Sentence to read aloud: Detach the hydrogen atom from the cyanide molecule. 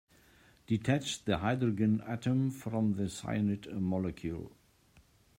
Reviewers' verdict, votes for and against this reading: rejected, 0, 2